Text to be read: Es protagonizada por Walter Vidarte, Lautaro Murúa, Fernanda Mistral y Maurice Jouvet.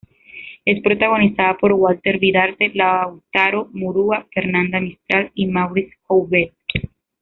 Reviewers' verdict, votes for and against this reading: rejected, 1, 2